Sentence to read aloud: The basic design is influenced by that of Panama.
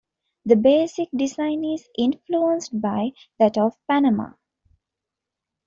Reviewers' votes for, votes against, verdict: 2, 0, accepted